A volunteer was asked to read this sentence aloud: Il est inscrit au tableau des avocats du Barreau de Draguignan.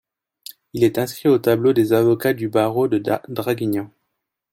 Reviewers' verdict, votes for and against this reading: rejected, 1, 2